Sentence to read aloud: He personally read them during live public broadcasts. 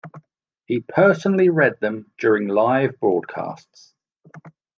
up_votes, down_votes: 1, 2